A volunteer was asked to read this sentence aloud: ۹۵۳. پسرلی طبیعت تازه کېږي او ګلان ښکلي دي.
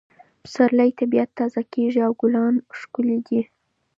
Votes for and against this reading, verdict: 0, 2, rejected